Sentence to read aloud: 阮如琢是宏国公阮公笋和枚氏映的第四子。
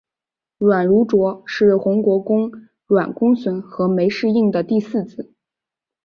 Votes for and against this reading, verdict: 4, 0, accepted